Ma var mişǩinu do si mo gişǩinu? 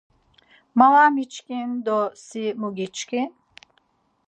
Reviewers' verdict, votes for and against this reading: rejected, 0, 4